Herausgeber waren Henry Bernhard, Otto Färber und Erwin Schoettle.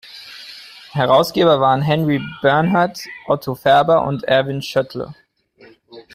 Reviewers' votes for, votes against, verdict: 2, 1, accepted